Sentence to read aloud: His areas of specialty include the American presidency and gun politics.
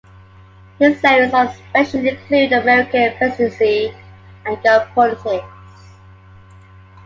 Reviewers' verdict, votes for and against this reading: rejected, 1, 2